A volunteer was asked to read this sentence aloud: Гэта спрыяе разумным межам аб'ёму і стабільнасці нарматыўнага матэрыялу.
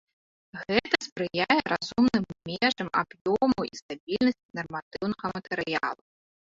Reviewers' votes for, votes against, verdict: 0, 2, rejected